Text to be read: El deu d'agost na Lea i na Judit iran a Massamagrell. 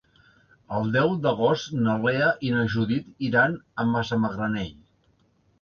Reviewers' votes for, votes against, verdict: 1, 2, rejected